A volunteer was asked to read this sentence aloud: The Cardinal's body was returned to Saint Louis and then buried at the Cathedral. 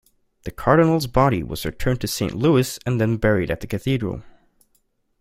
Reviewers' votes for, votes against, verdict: 2, 0, accepted